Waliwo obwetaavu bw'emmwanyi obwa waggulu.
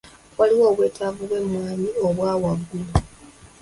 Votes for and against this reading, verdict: 2, 1, accepted